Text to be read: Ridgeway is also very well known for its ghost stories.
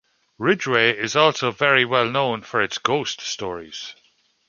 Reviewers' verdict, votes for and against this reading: accepted, 2, 0